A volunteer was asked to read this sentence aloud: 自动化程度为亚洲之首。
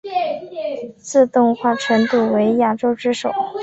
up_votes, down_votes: 3, 4